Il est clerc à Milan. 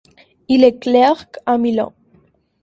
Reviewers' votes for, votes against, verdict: 2, 0, accepted